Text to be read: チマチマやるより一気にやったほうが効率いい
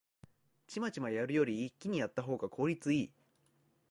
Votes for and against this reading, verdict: 2, 0, accepted